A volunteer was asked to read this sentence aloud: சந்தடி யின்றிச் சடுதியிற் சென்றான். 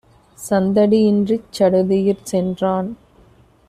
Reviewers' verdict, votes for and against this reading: accepted, 2, 0